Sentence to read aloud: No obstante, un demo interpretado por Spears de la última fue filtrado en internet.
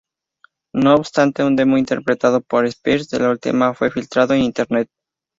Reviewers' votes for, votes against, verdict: 2, 0, accepted